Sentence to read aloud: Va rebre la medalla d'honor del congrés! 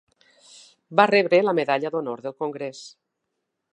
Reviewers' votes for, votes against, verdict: 3, 0, accepted